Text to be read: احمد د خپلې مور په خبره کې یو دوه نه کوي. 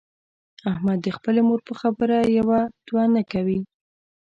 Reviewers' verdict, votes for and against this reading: accepted, 2, 0